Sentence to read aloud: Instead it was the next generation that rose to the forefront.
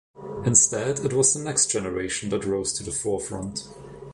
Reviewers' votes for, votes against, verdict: 2, 0, accepted